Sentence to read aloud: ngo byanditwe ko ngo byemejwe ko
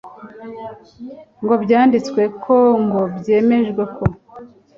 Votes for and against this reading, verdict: 2, 0, accepted